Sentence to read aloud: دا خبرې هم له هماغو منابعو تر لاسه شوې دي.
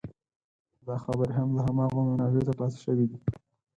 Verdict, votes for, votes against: rejected, 2, 4